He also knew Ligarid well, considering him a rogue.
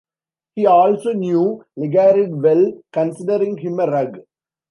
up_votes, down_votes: 1, 2